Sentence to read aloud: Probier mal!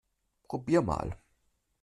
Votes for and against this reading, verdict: 2, 0, accepted